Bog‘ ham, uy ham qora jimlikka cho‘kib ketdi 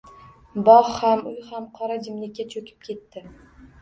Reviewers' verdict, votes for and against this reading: rejected, 0, 2